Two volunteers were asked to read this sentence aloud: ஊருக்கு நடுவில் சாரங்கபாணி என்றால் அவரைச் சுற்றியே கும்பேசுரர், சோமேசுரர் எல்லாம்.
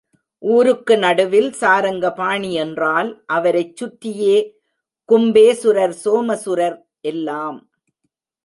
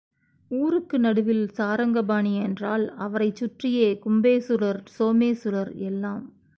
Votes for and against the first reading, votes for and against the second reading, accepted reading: 1, 2, 3, 0, second